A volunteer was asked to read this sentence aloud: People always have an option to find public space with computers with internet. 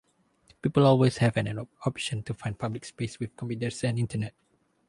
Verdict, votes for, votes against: rejected, 0, 2